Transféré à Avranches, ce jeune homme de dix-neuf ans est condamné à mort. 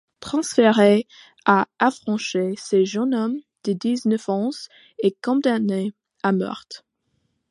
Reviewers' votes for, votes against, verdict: 1, 2, rejected